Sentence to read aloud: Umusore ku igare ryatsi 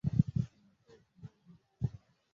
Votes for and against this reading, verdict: 0, 2, rejected